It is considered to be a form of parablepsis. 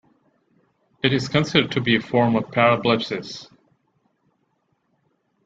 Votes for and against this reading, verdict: 3, 2, accepted